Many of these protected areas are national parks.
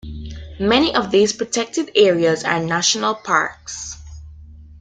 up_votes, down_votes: 2, 0